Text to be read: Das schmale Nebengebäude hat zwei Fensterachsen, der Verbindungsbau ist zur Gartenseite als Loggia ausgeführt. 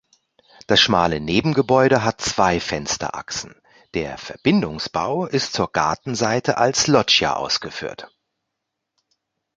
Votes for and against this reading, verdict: 2, 0, accepted